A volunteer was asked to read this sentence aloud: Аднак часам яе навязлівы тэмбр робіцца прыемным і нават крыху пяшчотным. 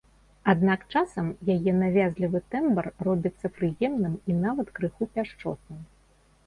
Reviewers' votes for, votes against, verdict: 2, 0, accepted